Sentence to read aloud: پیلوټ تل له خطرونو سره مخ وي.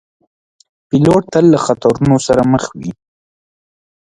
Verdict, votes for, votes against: rejected, 1, 2